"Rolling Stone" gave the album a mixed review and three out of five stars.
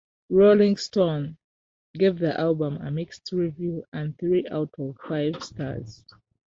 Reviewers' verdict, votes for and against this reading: rejected, 1, 2